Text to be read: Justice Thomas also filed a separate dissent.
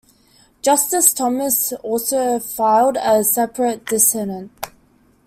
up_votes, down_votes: 0, 2